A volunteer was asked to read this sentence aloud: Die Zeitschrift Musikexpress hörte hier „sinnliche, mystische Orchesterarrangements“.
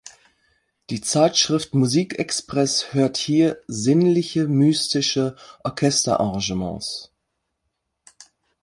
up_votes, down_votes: 3, 4